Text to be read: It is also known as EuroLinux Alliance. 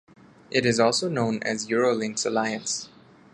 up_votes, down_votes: 1, 2